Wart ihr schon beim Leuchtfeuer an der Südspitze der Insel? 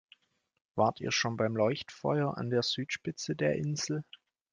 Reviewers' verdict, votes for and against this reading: accepted, 2, 0